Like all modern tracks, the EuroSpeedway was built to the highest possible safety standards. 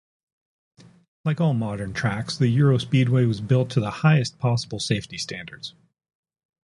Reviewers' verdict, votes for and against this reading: accepted, 4, 0